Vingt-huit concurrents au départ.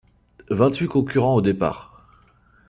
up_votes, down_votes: 2, 0